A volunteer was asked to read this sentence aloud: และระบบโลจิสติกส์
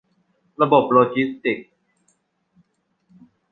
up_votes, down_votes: 0, 2